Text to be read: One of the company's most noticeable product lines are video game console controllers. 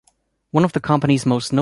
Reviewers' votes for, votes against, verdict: 0, 2, rejected